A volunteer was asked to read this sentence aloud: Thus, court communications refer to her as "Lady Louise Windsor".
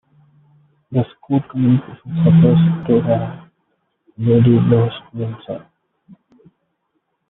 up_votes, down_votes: 0, 2